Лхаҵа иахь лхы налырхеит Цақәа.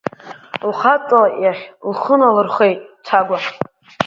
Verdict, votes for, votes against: rejected, 0, 2